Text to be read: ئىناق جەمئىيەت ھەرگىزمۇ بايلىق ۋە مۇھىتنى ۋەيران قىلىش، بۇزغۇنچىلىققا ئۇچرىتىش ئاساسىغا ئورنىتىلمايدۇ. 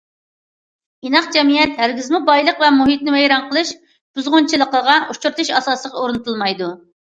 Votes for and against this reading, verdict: 0, 2, rejected